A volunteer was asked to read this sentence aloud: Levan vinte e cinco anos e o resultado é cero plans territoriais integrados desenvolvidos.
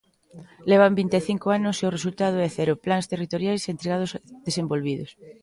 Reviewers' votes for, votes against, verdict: 1, 2, rejected